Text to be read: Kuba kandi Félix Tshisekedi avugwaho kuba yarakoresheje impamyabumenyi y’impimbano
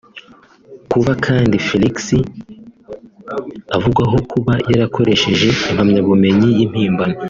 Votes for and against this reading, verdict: 0, 2, rejected